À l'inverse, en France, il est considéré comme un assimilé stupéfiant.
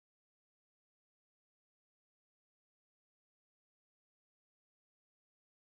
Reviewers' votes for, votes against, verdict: 0, 2, rejected